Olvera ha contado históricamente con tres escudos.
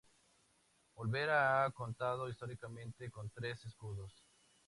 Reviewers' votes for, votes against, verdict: 2, 0, accepted